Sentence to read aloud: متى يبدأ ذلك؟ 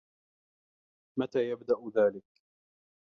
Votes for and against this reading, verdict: 2, 0, accepted